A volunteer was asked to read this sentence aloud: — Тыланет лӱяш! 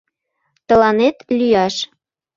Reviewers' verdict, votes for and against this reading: accepted, 2, 0